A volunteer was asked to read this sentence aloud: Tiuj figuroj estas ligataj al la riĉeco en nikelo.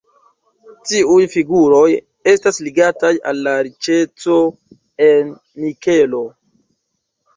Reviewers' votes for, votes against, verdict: 1, 2, rejected